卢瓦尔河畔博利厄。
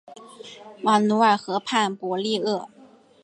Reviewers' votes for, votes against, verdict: 4, 2, accepted